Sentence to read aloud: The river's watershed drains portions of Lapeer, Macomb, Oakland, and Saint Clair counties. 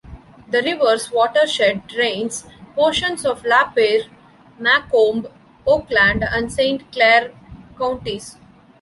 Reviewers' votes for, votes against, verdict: 1, 2, rejected